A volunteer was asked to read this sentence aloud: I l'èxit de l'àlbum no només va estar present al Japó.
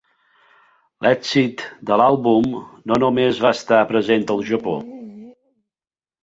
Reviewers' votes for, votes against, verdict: 1, 2, rejected